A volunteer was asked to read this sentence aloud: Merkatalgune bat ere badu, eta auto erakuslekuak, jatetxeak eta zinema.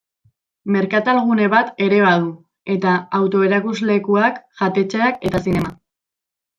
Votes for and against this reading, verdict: 1, 2, rejected